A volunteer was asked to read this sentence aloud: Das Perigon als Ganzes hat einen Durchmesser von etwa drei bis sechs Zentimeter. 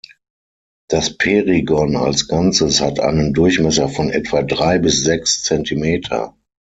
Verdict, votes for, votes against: accepted, 6, 0